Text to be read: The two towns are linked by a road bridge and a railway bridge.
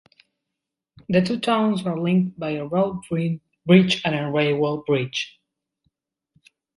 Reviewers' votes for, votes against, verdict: 1, 2, rejected